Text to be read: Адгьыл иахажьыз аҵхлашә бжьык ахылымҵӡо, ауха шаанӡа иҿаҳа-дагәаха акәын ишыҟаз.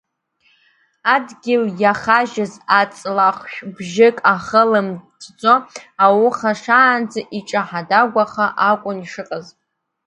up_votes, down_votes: 1, 2